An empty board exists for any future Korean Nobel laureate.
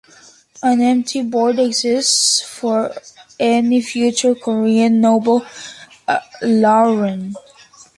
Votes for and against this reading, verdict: 0, 2, rejected